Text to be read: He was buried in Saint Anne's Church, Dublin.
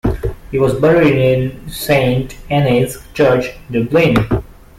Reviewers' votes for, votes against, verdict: 0, 2, rejected